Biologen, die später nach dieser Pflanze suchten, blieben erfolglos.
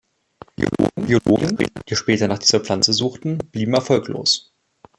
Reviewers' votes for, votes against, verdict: 1, 2, rejected